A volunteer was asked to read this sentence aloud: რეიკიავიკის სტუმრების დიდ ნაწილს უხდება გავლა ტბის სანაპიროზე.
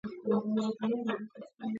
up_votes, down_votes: 0, 2